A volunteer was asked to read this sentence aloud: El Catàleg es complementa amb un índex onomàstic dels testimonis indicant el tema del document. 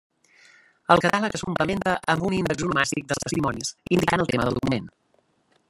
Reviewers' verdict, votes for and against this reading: rejected, 1, 2